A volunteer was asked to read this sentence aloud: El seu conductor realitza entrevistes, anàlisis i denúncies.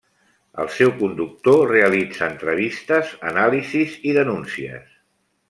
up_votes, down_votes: 0, 2